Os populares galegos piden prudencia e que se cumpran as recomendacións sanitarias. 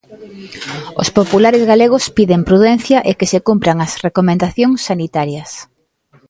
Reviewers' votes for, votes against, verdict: 1, 2, rejected